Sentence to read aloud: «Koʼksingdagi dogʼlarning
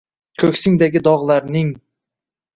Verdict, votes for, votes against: rejected, 1, 2